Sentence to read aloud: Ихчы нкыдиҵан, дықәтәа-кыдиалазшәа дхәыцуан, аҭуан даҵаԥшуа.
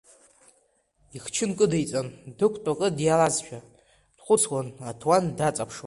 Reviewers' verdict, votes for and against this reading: accepted, 2, 0